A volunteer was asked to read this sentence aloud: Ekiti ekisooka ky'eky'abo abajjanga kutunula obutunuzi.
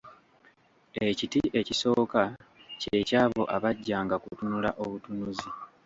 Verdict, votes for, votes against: accepted, 2, 1